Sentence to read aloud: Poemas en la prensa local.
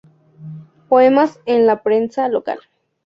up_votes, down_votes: 0, 2